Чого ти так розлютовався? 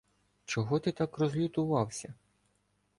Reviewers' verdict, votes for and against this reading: accepted, 2, 0